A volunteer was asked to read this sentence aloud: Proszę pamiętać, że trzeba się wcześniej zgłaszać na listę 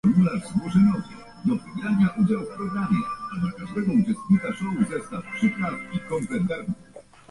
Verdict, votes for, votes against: rejected, 0, 2